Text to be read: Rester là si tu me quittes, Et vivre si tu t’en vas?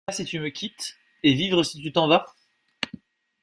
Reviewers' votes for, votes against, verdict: 1, 2, rejected